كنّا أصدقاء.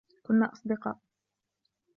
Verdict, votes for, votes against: accepted, 2, 0